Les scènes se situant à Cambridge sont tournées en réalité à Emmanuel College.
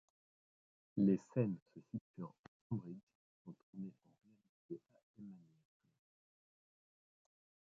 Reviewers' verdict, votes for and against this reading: rejected, 0, 2